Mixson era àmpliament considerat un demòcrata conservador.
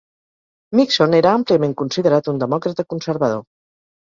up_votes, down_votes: 2, 0